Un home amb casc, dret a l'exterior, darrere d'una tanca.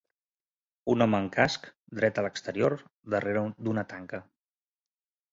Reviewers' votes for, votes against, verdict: 0, 2, rejected